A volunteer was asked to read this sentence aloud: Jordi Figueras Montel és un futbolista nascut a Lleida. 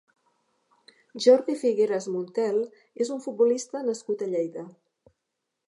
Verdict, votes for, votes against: accepted, 2, 0